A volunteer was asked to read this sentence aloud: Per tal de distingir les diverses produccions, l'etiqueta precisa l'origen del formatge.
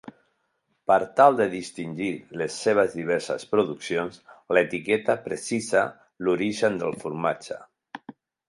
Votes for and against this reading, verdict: 0, 2, rejected